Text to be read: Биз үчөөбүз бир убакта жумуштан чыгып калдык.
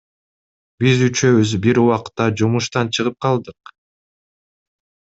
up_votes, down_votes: 2, 0